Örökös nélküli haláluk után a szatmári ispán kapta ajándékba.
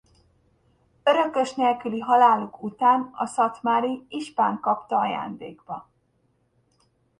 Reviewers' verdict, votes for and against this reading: accepted, 2, 1